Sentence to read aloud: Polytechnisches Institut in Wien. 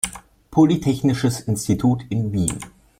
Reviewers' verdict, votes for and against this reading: accepted, 2, 0